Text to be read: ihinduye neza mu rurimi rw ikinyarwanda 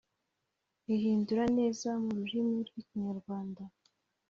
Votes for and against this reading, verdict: 0, 2, rejected